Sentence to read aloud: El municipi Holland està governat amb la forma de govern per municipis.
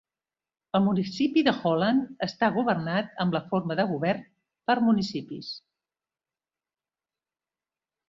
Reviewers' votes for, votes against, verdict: 1, 2, rejected